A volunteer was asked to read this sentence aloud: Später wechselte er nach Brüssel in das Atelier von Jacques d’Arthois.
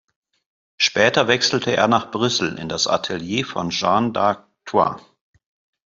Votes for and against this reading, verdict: 0, 2, rejected